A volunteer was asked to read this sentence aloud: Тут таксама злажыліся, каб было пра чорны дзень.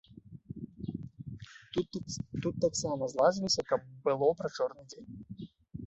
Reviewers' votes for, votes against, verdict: 0, 2, rejected